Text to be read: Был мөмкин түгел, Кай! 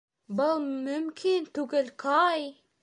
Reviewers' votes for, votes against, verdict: 3, 1, accepted